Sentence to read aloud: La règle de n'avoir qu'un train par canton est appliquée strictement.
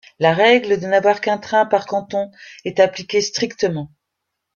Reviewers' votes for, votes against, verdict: 3, 0, accepted